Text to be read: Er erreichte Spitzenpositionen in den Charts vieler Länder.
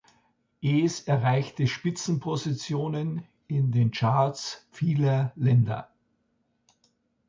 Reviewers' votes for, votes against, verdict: 0, 2, rejected